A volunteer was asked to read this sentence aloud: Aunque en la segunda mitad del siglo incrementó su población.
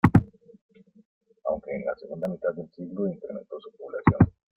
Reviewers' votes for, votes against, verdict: 2, 0, accepted